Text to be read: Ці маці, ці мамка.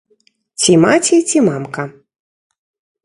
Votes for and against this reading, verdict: 2, 0, accepted